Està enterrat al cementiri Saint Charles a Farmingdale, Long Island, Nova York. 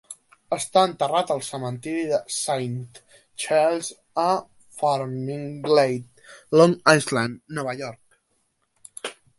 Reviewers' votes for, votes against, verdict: 1, 2, rejected